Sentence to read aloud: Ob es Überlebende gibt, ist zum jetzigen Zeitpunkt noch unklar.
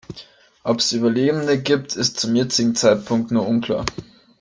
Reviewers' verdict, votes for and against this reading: rejected, 1, 2